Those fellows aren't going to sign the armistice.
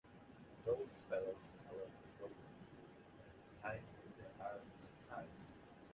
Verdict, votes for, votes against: accepted, 2, 1